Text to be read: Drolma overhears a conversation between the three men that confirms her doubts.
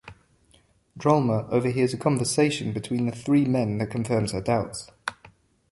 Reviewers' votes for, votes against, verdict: 2, 0, accepted